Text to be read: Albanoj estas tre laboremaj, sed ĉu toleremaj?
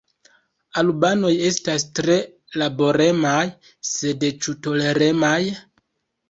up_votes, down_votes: 1, 2